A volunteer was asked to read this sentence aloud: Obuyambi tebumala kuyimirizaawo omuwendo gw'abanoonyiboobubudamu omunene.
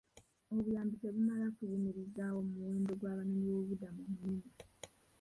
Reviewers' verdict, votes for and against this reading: rejected, 0, 2